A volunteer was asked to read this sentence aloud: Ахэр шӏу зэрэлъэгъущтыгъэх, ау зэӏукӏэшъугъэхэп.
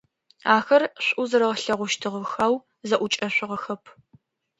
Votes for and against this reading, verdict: 2, 0, accepted